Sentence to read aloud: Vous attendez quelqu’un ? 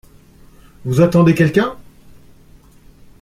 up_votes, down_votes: 2, 0